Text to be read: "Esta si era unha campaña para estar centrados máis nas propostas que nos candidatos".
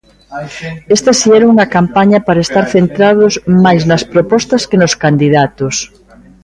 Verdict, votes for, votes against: rejected, 0, 2